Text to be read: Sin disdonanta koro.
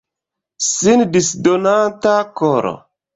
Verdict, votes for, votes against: accepted, 2, 0